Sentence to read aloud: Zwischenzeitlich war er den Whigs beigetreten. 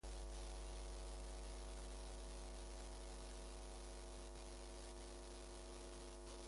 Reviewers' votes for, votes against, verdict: 0, 2, rejected